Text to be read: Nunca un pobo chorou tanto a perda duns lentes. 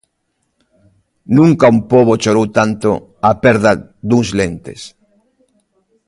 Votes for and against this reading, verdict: 2, 0, accepted